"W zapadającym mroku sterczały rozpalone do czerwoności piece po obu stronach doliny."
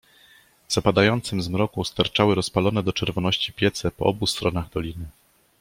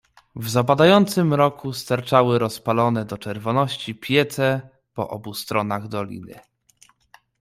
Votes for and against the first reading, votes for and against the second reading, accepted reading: 0, 2, 2, 0, second